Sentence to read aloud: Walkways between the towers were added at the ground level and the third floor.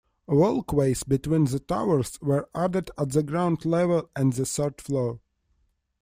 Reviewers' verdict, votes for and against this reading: accepted, 2, 1